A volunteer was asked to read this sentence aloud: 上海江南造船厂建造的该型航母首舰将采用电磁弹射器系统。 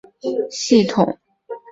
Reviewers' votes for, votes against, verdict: 1, 4, rejected